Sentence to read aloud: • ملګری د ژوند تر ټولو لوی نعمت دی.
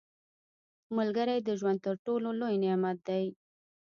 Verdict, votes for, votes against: rejected, 0, 2